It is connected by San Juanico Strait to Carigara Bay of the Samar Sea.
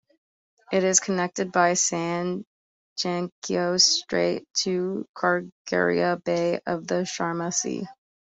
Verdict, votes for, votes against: rejected, 0, 3